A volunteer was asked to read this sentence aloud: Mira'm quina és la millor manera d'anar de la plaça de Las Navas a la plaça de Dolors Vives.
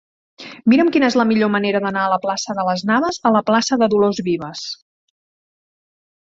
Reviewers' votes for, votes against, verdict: 0, 2, rejected